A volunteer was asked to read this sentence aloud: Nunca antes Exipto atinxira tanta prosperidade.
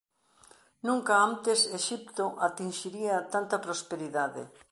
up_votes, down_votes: 1, 2